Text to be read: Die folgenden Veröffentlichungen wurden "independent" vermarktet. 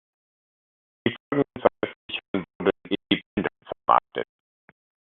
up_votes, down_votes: 0, 2